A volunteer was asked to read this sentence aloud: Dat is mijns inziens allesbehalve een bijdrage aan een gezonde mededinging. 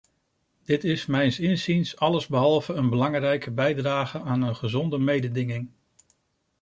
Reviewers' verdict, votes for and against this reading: rejected, 0, 2